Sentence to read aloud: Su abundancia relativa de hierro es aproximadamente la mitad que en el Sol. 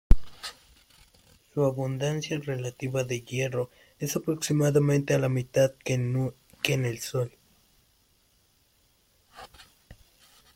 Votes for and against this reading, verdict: 2, 3, rejected